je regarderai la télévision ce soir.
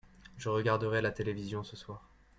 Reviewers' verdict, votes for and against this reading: accepted, 2, 0